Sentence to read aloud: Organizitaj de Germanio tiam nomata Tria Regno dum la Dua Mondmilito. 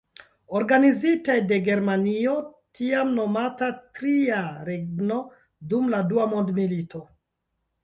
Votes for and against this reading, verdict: 2, 0, accepted